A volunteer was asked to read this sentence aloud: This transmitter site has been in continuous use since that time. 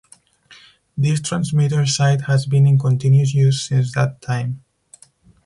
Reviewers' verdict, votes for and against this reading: accepted, 2, 0